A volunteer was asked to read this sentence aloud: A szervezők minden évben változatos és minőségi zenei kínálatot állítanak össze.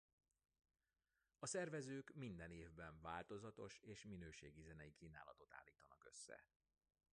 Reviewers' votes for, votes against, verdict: 0, 2, rejected